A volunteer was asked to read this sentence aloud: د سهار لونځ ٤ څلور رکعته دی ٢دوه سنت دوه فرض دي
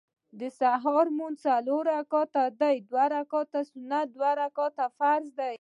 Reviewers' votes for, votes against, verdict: 0, 2, rejected